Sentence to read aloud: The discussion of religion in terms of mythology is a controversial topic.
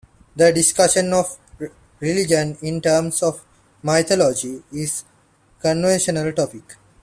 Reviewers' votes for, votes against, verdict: 2, 1, accepted